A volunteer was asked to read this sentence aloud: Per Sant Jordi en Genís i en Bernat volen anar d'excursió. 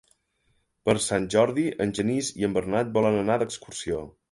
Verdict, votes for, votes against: accepted, 3, 0